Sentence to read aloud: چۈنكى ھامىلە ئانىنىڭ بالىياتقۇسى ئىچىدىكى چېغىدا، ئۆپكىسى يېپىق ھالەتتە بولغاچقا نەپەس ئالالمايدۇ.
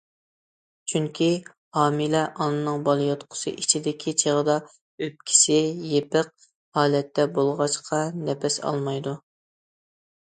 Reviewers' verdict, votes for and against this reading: rejected, 0, 2